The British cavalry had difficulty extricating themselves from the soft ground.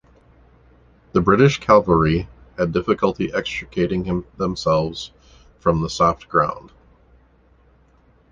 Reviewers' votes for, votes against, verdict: 0, 2, rejected